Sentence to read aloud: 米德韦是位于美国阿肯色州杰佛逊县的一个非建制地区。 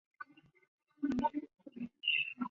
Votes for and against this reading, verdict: 1, 5, rejected